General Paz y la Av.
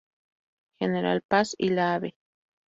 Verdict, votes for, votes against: rejected, 0, 2